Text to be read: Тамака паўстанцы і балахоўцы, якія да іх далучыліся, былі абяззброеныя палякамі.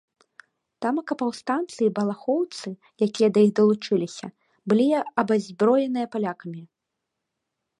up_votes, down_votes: 1, 2